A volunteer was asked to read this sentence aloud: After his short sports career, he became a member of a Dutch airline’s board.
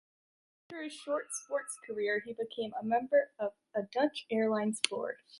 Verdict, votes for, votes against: accepted, 2, 1